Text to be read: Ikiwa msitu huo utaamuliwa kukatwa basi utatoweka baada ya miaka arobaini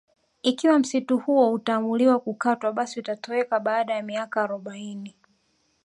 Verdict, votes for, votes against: accepted, 5, 0